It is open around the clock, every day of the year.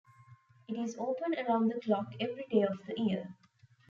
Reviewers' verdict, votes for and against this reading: accepted, 2, 0